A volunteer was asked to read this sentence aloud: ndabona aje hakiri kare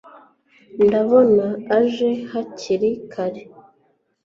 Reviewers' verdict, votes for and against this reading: accepted, 2, 0